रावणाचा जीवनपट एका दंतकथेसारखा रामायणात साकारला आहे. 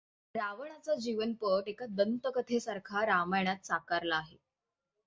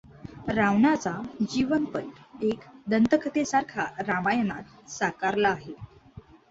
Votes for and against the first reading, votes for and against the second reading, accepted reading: 6, 0, 1, 2, first